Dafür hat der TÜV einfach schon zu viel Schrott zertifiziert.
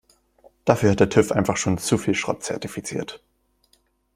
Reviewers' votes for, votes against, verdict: 2, 0, accepted